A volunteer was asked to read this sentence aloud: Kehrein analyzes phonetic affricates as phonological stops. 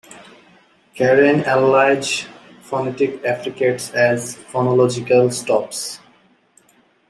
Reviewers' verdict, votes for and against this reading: rejected, 0, 2